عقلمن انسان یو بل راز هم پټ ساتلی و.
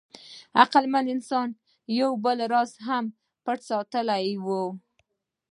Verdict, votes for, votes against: accepted, 2, 0